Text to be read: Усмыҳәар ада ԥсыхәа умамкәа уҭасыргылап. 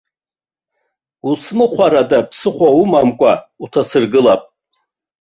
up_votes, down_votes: 0, 2